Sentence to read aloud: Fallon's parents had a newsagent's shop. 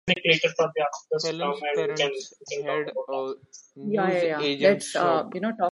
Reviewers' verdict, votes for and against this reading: rejected, 0, 2